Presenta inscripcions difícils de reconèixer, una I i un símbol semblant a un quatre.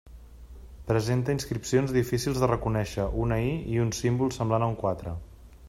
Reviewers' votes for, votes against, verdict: 2, 0, accepted